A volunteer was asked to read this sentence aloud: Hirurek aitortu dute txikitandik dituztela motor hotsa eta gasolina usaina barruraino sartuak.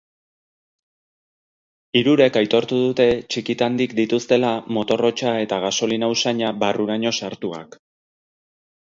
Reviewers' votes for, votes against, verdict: 4, 0, accepted